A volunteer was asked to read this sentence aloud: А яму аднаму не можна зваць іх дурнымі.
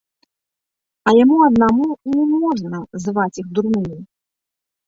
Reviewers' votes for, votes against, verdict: 2, 1, accepted